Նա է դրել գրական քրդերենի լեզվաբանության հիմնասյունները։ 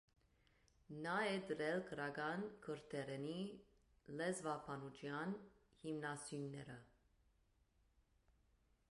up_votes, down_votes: 2, 1